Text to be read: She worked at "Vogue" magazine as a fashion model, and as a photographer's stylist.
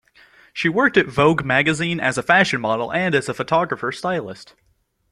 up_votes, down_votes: 2, 0